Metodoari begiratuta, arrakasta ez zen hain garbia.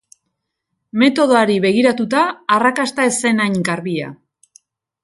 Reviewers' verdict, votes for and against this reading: accepted, 2, 0